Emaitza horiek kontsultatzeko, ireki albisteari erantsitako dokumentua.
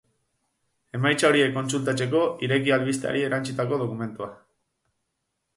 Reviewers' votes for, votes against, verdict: 6, 4, accepted